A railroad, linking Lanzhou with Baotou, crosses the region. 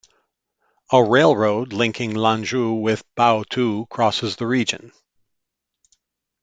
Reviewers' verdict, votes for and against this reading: accepted, 2, 0